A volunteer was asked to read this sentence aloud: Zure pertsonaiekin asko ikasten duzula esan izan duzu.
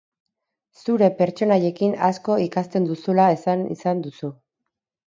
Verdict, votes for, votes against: accepted, 4, 0